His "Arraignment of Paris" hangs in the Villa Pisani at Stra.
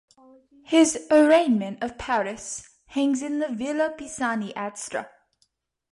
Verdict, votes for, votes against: accepted, 2, 0